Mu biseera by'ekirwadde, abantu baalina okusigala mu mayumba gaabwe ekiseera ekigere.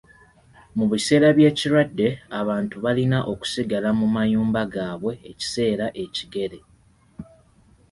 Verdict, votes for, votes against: accepted, 2, 0